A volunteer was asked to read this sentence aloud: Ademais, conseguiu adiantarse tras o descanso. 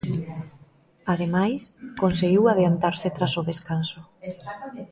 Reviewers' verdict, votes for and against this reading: rejected, 0, 2